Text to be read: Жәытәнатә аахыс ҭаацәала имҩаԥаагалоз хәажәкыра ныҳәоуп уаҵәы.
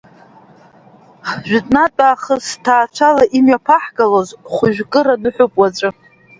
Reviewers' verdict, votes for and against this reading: rejected, 1, 2